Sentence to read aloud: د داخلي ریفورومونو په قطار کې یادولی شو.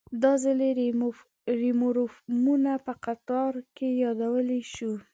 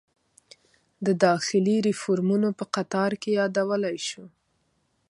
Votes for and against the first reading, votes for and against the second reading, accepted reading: 0, 2, 2, 0, second